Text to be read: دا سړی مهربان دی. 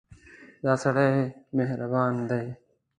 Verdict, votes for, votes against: accepted, 2, 0